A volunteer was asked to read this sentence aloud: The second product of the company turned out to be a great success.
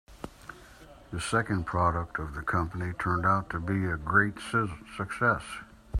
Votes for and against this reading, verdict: 2, 3, rejected